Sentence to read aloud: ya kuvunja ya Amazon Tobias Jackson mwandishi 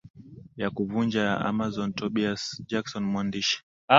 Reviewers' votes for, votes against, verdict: 9, 2, accepted